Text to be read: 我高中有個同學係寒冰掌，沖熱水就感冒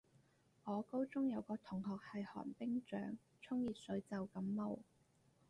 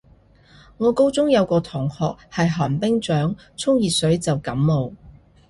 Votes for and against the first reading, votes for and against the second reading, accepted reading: 2, 2, 2, 0, second